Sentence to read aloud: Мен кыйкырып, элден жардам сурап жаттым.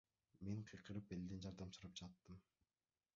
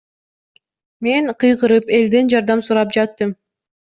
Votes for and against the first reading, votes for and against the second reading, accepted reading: 0, 2, 2, 0, second